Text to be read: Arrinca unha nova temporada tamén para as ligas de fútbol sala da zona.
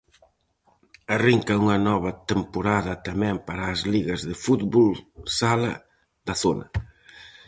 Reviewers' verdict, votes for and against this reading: accepted, 4, 0